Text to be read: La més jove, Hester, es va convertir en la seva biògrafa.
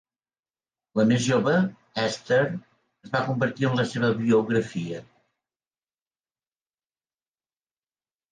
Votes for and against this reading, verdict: 0, 2, rejected